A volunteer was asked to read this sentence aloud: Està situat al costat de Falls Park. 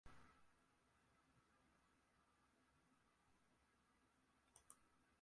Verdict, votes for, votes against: rejected, 0, 3